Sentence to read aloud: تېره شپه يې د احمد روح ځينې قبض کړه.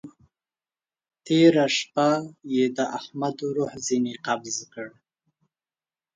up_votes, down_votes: 2, 0